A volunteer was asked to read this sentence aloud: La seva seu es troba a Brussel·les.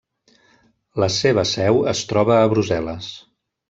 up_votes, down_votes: 1, 2